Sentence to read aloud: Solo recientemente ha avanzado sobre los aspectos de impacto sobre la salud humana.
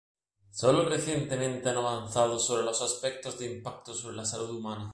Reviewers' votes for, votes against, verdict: 2, 0, accepted